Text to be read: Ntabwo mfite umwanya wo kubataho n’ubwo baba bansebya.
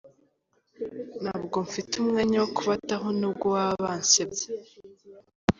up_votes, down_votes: 2, 0